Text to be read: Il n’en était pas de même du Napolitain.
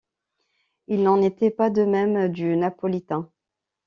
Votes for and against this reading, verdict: 2, 0, accepted